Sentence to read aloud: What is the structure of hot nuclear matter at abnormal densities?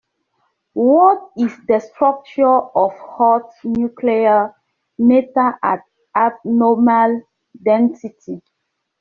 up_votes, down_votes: 1, 2